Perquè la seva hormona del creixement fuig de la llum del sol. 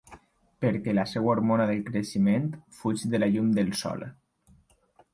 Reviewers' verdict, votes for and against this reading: rejected, 1, 2